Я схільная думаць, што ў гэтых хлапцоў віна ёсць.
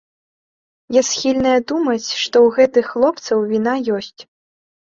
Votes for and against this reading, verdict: 1, 2, rejected